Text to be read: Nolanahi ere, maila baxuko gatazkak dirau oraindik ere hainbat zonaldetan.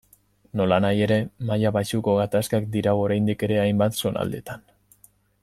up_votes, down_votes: 2, 0